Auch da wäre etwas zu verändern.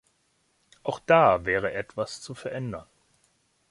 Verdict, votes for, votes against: accepted, 2, 0